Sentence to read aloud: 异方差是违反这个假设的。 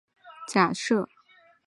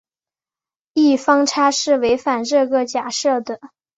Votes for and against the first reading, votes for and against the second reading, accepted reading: 1, 2, 4, 0, second